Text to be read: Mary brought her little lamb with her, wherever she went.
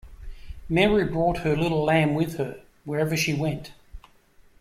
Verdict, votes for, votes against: rejected, 0, 2